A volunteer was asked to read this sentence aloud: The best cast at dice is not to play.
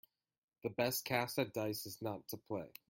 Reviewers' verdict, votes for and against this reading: rejected, 1, 2